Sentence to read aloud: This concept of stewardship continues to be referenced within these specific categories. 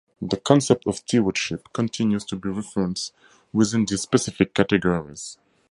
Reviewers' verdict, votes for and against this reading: rejected, 0, 2